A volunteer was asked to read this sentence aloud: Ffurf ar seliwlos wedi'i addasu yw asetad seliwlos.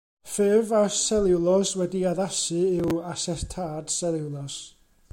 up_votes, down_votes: 1, 2